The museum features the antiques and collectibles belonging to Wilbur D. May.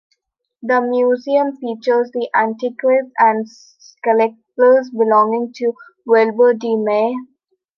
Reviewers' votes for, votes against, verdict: 0, 2, rejected